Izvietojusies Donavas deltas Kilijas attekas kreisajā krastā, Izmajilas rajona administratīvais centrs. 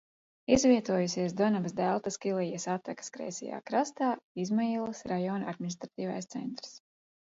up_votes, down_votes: 2, 0